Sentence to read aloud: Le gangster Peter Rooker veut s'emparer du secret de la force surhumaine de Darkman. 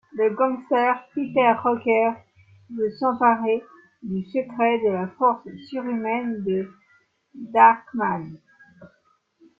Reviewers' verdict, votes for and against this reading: rejected, 1, 2